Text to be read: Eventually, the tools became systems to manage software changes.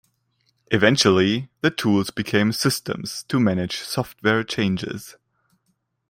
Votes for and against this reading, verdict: 2, 0, accepted